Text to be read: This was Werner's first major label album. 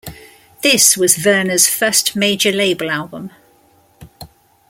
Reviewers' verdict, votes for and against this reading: accepted, 2, 0